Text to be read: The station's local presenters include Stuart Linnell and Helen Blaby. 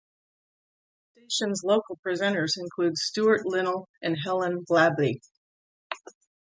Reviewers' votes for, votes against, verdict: 1, 2, rejected